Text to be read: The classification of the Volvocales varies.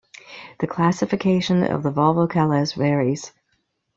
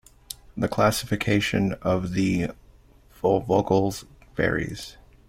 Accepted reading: first